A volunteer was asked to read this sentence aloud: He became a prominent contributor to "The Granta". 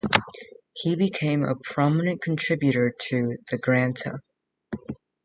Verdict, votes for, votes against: accepted, 2, 1